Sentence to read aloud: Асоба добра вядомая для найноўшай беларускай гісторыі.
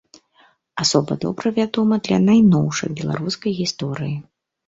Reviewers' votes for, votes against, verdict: 2, 0, accepted